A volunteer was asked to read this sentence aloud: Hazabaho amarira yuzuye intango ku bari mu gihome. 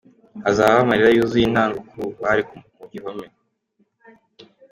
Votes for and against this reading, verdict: 2, 1, accepted